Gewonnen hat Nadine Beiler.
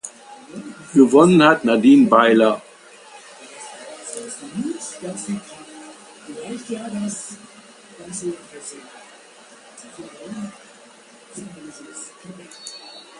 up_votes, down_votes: 2, 3